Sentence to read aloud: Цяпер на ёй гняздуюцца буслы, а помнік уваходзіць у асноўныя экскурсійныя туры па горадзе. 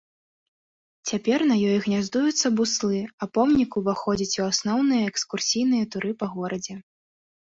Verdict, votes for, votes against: rejected, 0, 2